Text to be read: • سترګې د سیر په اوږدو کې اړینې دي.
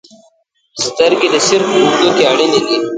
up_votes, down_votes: 0, 2